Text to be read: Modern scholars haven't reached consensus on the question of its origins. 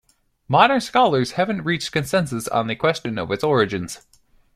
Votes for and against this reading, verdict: 0, 2, rejected